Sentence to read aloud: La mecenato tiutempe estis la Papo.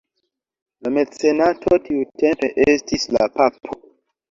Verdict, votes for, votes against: rejected, 1, 2